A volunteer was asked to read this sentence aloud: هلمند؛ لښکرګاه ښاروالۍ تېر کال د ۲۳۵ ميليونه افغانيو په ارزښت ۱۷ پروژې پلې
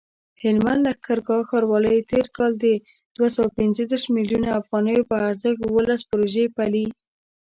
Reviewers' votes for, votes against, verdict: 0, 2, rejected